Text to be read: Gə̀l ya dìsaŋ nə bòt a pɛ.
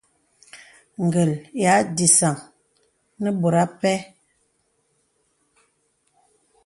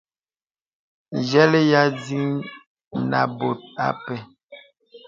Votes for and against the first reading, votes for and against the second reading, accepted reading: 2, 0, 0, 2, first